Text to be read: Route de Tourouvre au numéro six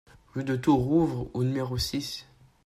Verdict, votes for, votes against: rejected, 1, 2